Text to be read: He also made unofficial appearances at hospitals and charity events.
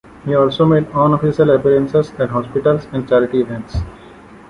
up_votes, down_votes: 2, 0